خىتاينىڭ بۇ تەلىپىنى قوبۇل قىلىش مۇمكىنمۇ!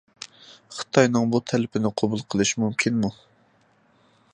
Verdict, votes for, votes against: accepted, 2, 0